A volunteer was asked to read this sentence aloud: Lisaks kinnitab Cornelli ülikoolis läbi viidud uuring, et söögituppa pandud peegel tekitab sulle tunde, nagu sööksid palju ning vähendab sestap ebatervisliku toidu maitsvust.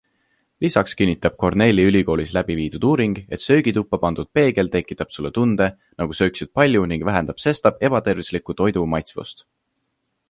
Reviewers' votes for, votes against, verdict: 2, 0, accepted